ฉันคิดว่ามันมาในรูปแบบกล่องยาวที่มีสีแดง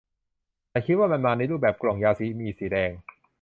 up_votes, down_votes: 0, 2